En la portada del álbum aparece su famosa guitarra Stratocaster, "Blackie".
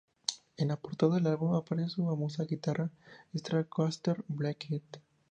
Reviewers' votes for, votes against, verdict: 0, 2, rejected